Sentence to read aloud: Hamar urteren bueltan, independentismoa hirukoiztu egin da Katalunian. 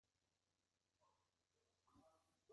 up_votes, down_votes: 1, 2